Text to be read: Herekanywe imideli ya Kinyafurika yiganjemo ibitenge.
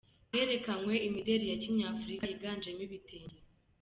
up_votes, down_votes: 2, 0